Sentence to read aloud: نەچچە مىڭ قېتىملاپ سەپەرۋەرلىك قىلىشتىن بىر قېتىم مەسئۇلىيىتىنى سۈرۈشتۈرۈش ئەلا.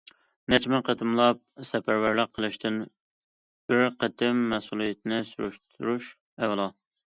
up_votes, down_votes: 2, 0